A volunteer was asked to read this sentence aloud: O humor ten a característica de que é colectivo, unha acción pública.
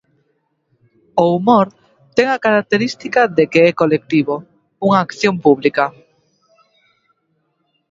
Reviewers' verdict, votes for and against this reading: accepted, 4, 0